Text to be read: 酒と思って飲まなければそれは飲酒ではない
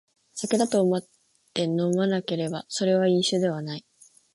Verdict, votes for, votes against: rejected, 1, 2